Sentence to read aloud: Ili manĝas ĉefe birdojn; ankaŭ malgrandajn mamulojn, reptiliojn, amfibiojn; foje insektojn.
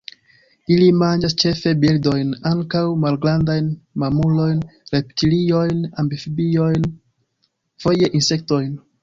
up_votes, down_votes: 1, 2